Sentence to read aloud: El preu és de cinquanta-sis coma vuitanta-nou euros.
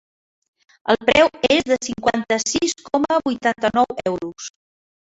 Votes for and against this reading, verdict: 4, 1, accepted